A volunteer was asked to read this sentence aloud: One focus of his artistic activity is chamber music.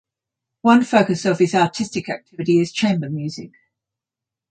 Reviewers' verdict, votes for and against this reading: accepted, 6, 0